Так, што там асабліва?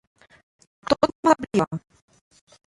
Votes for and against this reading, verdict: 0, 2, rejected